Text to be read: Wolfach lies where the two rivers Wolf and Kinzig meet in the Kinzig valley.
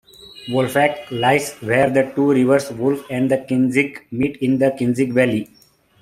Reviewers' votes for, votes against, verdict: 2, 1, accepted